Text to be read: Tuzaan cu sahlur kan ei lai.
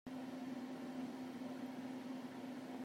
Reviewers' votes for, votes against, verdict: 0, 2, rejected